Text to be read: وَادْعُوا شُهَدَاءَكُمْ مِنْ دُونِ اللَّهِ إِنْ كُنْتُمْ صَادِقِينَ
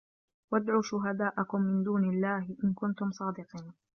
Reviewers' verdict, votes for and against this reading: rejected, 0, 2